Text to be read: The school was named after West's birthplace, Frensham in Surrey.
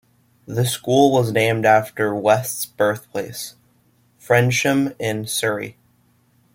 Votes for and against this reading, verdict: 2, 0, accepted